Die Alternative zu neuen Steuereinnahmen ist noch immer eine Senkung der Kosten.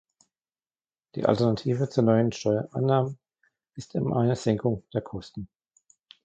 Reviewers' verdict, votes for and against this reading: rejected, 0, 2